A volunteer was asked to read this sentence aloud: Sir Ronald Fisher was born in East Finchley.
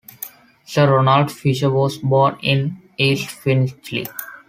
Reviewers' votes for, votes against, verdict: 2, 0, accepted